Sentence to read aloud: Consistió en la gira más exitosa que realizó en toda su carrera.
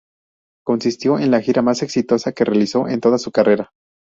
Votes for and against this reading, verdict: 0, 2, rejected